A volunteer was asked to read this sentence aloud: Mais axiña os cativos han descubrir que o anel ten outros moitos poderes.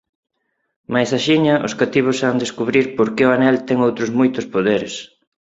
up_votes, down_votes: 2, 4